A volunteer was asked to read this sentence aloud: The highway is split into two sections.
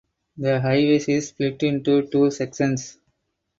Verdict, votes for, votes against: rejected, 0, 4